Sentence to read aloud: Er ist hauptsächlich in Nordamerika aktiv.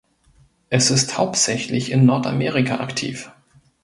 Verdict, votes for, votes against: rejected, 1, 2